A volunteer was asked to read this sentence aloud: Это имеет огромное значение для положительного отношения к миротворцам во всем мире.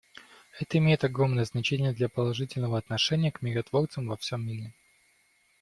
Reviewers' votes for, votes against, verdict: 1, 2, rejected